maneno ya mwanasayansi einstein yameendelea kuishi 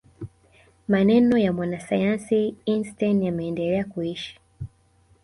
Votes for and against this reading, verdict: 0, 2, rejected